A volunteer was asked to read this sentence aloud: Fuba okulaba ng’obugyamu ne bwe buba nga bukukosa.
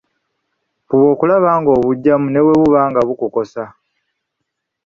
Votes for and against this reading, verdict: 2, 0, accepted